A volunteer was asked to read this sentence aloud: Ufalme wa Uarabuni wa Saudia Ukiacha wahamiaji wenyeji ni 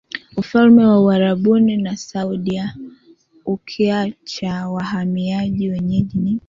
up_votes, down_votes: 0, 3